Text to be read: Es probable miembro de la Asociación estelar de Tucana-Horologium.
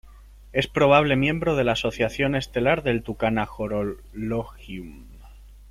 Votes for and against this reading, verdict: 0, 2, rejected